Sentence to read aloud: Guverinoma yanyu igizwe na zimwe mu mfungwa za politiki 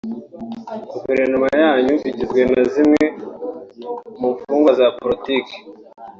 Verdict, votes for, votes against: accepted, 2, 0